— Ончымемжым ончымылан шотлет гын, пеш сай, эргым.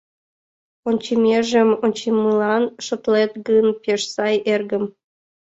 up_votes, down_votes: 0, 2